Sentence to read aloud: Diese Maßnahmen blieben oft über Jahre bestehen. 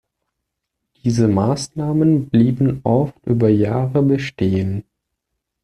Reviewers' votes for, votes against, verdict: 2, 0, accepted